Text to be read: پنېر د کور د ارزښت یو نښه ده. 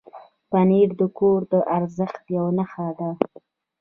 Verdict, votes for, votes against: rejected, 0, 2